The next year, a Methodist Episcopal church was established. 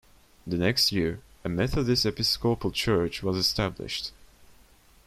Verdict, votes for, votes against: rejected, 1, 2